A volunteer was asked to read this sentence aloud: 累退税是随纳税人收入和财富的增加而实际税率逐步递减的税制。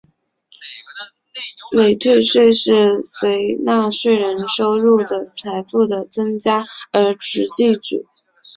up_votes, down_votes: 0, 2